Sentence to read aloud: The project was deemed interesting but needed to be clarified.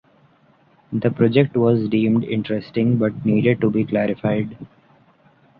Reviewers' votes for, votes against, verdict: 2, 0, accepted